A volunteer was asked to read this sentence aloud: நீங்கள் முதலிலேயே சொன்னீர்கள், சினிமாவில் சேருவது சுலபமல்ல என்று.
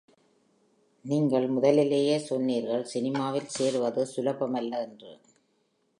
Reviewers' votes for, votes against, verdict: 2, 0, accepted